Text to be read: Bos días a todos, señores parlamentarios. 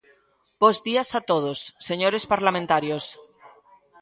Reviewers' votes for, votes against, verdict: 2, 0, accepted